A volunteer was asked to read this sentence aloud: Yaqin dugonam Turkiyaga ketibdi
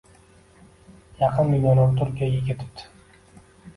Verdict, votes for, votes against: accepted, 2, 0